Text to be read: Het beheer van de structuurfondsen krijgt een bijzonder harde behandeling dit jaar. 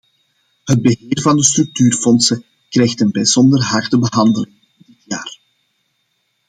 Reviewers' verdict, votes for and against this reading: rejected, 0, 2